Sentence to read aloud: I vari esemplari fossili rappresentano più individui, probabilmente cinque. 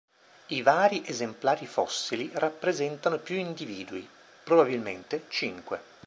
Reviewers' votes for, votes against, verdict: 3, 0, accepted